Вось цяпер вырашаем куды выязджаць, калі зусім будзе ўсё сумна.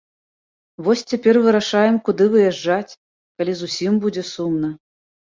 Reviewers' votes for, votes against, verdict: 1, 2, rejected